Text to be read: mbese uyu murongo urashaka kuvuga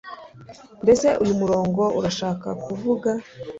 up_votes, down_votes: 2, 0